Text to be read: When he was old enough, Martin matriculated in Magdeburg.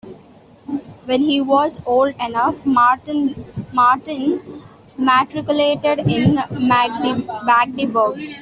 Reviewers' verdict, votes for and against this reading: rejected, 0, 2